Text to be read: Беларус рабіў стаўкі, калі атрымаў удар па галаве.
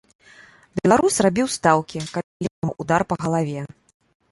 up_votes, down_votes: 1, 2